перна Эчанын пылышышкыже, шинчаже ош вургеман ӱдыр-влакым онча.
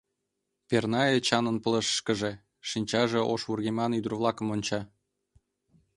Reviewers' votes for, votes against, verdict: 2, 0, accepted